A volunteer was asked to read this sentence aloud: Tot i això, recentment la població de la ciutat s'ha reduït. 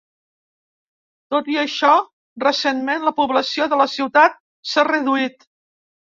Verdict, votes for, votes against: accepted, 2, 0